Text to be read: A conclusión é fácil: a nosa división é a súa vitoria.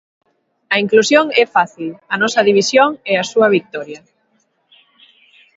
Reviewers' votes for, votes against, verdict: 1, 2, rejected